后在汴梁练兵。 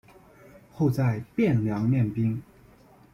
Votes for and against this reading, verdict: 2, 0, accepted